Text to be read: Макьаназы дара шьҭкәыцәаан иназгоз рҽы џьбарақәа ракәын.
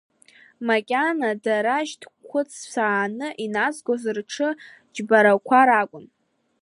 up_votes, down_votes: 0, 2